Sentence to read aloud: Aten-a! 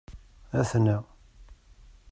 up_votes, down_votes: 2, 0